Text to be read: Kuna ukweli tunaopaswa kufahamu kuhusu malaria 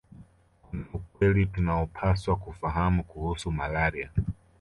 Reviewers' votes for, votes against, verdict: 2, 0, accepted